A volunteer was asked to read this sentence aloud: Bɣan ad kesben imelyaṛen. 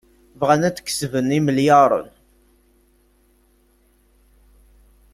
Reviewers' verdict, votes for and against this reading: accepted, 2, 0